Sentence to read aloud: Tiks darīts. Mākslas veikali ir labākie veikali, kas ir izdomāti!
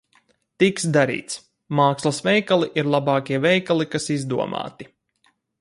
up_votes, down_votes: 0, 2